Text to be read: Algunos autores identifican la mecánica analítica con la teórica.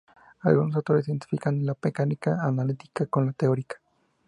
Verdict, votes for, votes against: rejected, 0, 2